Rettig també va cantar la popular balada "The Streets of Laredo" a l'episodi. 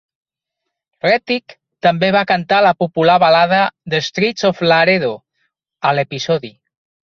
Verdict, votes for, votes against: rejected, 1, 2